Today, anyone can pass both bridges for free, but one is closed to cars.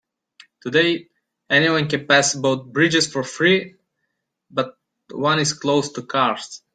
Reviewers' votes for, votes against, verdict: 2, 0, accepted